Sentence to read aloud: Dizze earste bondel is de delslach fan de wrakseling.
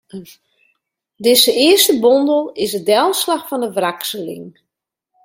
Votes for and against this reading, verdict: 1, 2, rejected